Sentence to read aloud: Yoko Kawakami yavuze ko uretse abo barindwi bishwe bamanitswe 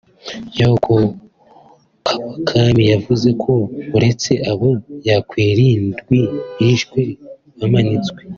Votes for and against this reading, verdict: 1, 2, rejected